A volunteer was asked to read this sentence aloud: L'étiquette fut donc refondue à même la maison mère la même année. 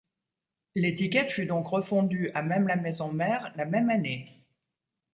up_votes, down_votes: 2, 0